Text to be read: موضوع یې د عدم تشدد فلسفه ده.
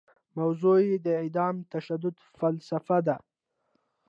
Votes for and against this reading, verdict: 1, 2, rejected